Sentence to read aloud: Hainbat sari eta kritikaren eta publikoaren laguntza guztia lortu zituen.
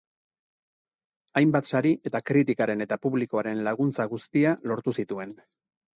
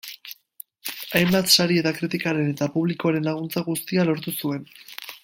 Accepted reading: first